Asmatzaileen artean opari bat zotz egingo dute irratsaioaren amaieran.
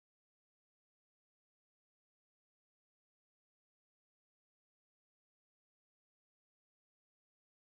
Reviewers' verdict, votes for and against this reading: rejected, 0, 2